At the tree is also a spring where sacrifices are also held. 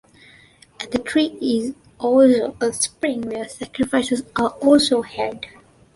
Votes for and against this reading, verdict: 1, 2, rejected